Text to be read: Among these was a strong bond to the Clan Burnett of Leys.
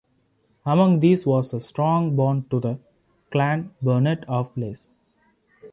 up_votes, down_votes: 2, 0